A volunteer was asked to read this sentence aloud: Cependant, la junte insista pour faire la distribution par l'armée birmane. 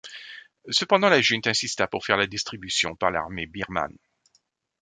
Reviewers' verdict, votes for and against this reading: rejected, 1, 2